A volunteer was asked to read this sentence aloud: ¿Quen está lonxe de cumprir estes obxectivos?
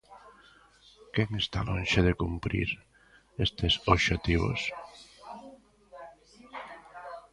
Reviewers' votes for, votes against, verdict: 0, 2, rejected